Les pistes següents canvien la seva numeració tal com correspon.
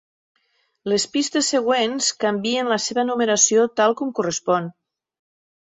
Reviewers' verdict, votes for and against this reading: accepted, 4, 0